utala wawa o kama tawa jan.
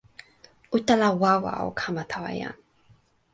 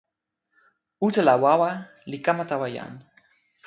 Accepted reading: first